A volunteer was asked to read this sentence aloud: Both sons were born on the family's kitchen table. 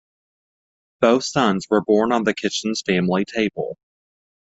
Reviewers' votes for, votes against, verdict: 1, 2, rejected